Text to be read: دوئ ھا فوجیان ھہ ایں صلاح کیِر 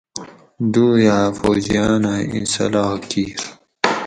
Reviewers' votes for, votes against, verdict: 4, 0, accepted